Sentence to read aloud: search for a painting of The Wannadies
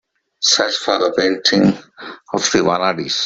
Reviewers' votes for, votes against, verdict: 1, 2, rejected